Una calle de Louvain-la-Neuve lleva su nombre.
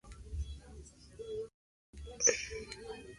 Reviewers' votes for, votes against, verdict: 0, 2, rejected